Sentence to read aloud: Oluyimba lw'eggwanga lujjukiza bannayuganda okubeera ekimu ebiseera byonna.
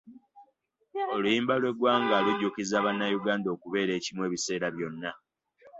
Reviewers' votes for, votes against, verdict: 2, 0, accepted